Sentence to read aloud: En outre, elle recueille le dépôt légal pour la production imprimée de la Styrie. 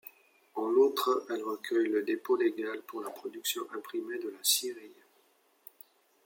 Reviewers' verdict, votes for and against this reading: rejected, 0, 2